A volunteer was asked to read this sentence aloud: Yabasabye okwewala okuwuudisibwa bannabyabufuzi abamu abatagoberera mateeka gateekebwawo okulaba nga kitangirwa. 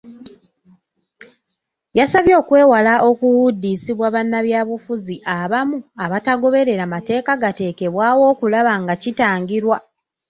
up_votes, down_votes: 2, 1